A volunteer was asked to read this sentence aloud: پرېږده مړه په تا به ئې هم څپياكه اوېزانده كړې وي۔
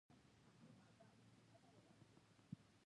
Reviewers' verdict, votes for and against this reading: rejected, 1, 2